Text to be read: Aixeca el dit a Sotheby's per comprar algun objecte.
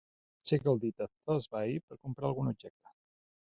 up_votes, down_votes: 1, 2